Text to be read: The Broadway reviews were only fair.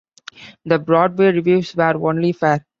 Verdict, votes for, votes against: accepted, 2, 0